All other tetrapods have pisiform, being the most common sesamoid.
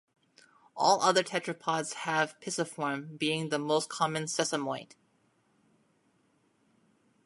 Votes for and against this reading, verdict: 2, 1, accepted